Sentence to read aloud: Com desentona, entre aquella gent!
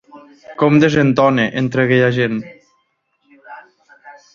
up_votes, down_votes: 3, 0